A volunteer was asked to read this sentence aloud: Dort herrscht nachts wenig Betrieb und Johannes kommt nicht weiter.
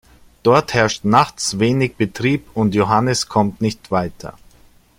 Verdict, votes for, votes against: accepted, 2, 0